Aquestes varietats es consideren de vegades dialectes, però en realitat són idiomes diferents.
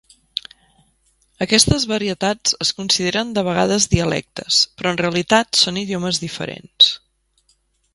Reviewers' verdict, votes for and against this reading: accepted, 2, 0